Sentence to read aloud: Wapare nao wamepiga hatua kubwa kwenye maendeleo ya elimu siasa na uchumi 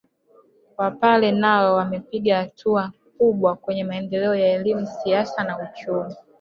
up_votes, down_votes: 0, 2